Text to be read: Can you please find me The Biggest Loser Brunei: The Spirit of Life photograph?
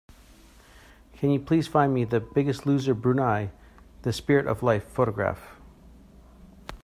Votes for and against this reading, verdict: 2, 0, accepted